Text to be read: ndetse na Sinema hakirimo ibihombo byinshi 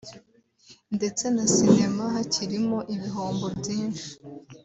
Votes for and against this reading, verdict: 2, 0, accepted